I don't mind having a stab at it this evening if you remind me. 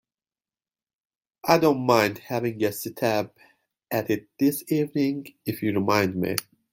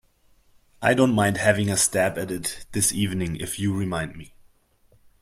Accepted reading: second